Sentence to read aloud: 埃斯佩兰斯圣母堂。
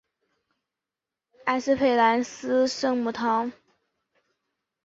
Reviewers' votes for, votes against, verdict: 6, 2, accepted